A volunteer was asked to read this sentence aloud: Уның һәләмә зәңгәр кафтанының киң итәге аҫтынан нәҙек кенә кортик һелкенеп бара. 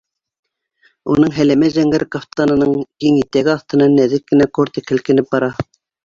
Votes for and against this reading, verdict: 1, 2, rejected